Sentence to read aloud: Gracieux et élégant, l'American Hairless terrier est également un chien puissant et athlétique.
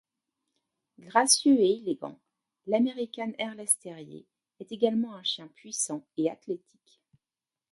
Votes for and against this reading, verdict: 2, 0, accepted